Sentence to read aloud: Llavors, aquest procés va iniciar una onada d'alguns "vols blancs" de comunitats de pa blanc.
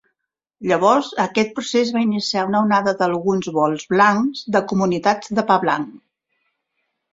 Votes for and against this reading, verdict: 3, 0, accepted